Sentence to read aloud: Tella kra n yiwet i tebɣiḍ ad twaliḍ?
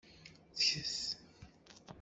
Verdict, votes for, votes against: rejected, 0, 2